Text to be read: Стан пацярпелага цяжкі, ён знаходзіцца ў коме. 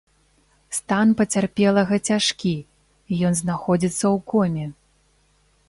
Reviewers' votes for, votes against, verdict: 2, 0, accepted